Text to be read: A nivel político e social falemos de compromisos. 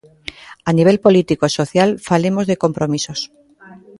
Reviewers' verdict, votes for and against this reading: accepted, 2, 0